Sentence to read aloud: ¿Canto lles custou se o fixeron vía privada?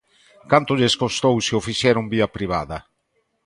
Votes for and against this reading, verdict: 1, 2, rejected